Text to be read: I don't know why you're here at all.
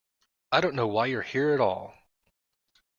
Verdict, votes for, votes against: accepted, 2, 0